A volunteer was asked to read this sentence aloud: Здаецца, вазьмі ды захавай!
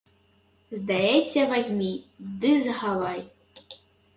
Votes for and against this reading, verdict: 0, 2, rejected